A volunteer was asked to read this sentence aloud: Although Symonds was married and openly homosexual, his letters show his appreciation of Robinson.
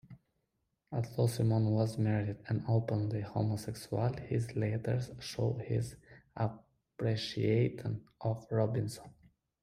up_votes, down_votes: 2, 1